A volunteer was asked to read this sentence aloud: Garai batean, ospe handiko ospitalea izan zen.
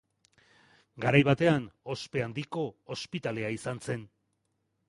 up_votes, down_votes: 2, 0